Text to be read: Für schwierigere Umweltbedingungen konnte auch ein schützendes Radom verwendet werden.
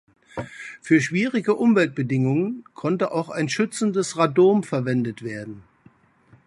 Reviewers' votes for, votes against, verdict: 0, 2, rejected